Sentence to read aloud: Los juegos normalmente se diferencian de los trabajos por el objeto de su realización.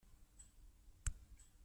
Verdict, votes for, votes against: rejected, 0, 2